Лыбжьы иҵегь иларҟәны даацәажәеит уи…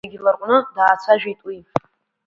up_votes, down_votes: 1, 5